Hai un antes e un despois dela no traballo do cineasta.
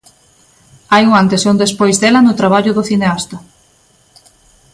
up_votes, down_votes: 2, 0